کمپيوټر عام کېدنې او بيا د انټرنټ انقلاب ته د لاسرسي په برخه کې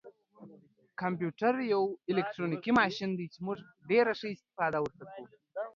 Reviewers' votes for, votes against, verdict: 0, 2, rejected